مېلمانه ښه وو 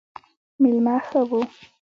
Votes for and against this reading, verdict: 1, 2, rejected